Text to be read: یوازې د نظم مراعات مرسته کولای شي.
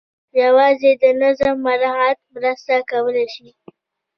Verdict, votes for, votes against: rejected, 1, 2